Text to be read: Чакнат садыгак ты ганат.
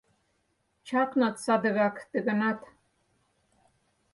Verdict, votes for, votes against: accepted, 4, 0